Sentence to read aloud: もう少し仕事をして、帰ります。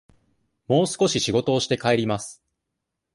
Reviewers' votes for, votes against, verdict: 2, 0, accepted